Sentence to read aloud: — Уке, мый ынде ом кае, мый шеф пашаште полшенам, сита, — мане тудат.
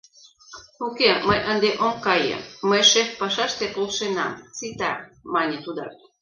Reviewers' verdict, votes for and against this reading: accepted, 2, 0